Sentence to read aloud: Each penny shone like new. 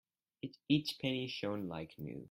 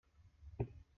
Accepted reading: first